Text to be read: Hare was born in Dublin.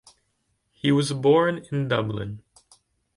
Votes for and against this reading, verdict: 1, 2, rejected